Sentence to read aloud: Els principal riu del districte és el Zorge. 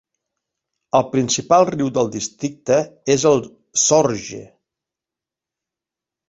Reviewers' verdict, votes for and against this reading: rejected, 0, 2